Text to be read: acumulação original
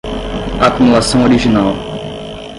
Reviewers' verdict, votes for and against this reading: rejected, 0, 10